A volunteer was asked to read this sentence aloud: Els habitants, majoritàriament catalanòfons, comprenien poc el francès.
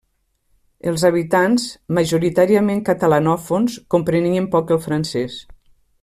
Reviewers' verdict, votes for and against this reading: accepted, 3, 0